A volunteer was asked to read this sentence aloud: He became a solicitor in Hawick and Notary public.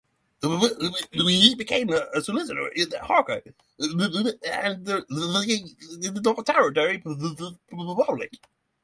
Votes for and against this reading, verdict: 0, 3, rejected